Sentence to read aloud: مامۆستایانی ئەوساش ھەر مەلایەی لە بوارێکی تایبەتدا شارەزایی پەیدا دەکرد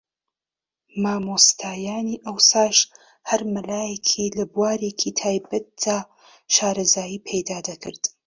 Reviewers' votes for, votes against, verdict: 0, 2, rejected